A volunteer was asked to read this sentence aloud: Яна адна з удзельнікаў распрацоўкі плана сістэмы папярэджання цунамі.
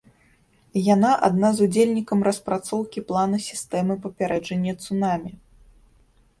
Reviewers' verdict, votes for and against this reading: rejected, 0, 2